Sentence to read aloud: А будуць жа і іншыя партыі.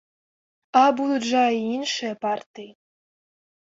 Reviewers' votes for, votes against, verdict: 1, 2, rejected